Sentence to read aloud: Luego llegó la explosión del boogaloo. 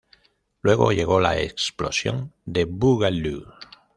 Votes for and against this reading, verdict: 1, 2, rejected